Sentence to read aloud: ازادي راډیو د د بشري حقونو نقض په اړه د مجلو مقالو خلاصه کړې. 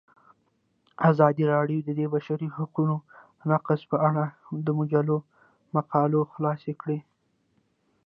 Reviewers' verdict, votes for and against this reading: rejected, 1, 2